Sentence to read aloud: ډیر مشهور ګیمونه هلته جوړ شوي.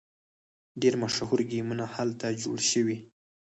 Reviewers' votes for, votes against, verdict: 2, 4, rejected